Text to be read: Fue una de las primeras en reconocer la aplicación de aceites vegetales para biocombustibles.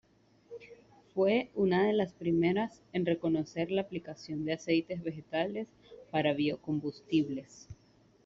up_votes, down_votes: 2, 0